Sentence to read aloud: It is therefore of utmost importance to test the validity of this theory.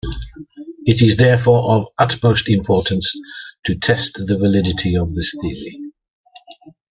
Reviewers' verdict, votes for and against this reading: accepted, 2, 0